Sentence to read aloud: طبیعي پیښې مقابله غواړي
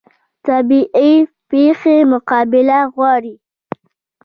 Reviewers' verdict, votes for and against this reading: accepted, 2, 1